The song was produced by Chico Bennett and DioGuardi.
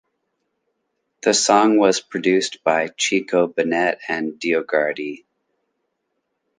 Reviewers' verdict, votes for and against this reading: accepted, 3, 2